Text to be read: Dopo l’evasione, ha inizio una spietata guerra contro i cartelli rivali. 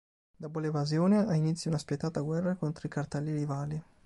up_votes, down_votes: 2, 0